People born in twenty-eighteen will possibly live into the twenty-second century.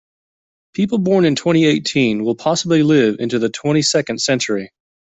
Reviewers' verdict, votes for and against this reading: accepted, 2, 0